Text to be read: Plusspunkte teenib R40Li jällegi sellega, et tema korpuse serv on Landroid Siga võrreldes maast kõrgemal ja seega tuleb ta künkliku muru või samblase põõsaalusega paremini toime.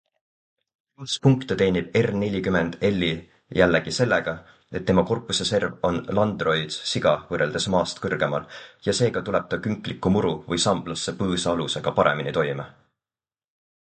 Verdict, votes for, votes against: rejected, 0, 2